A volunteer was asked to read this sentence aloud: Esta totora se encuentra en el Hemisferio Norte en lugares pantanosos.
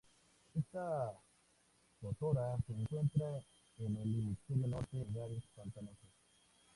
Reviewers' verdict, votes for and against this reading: rejected, 0, 4